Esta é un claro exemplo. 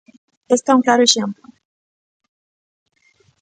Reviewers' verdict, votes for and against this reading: rejected, 0, 2